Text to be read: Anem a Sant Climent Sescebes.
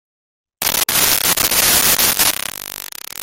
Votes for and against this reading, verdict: 0, 2, rejected